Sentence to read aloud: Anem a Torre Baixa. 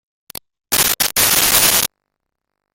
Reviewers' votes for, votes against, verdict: 0, 2, rejected